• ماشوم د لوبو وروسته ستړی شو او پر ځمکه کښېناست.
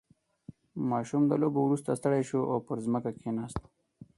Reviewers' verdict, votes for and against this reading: accepted, 4, 0